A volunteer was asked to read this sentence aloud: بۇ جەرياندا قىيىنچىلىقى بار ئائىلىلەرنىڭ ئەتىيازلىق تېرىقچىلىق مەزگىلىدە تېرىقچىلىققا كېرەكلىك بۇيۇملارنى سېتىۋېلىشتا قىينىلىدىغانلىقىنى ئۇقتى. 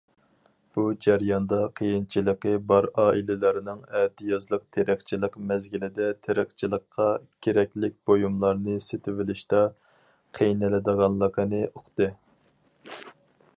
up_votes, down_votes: 4, 0